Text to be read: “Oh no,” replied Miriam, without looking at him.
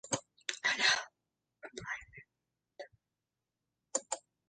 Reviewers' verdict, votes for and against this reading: rejected, 0, 3